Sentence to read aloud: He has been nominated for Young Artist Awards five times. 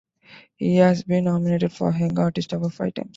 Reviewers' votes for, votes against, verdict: 0, 2, rejected